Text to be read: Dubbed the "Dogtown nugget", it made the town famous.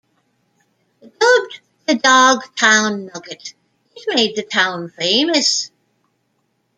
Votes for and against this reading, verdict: 0, 2, rejected